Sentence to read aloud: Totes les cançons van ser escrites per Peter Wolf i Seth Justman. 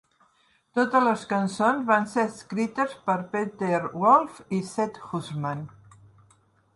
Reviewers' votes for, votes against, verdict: 1, 2, rejected